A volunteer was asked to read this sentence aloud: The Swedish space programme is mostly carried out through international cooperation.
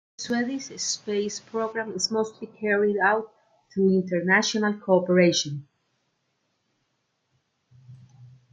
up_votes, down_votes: 0, 2